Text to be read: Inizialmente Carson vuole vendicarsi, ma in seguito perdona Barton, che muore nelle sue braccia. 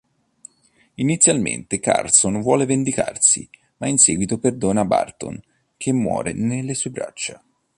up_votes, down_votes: 2, 0